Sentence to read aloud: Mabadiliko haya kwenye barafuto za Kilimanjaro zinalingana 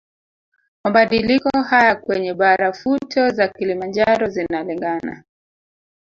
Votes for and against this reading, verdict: 2, 0, accepted